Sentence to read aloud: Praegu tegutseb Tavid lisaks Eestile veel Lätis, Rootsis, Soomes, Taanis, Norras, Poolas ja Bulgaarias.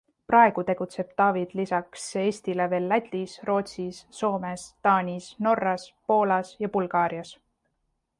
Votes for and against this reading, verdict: 2, 0, accepted